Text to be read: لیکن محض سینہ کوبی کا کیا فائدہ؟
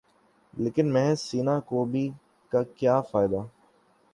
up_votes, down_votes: 6, 0